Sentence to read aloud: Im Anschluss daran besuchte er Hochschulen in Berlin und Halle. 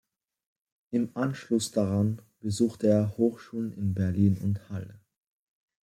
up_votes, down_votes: 2, 0